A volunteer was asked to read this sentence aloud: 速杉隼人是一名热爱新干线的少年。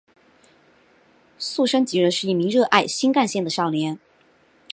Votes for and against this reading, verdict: 3, 0, accepted